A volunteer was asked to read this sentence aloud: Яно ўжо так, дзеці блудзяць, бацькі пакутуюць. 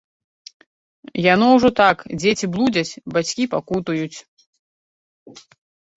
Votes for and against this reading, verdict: 2, 0, accepted